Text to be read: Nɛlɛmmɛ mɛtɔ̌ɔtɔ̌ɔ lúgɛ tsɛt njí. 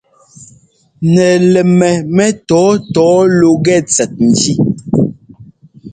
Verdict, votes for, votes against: accepted, 2, 0